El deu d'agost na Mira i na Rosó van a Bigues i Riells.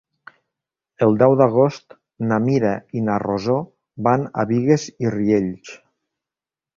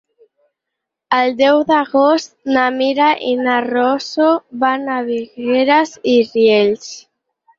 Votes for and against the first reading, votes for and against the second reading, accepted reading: 3, 0, 0, 4, first